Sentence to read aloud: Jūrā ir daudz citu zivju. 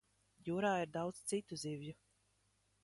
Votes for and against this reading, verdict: 3, 1, accepted